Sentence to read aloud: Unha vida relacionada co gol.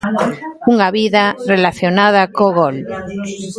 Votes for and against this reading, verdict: 0, 2, rejected